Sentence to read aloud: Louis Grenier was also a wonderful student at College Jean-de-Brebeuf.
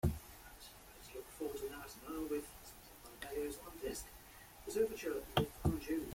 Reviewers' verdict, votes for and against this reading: rejected, 0, 2